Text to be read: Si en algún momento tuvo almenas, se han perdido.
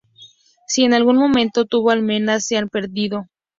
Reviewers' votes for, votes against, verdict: 2, 0, accepted